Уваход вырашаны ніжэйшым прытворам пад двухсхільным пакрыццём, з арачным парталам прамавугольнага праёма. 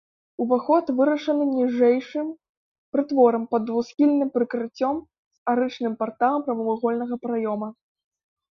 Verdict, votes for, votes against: rejected, 0, 2